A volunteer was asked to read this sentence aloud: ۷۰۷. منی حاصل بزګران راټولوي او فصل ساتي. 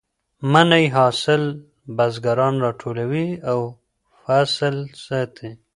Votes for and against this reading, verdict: 0, 2, rejected